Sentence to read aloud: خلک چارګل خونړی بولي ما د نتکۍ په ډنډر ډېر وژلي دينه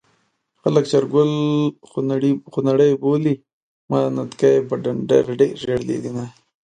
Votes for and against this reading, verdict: 2, 0, accepted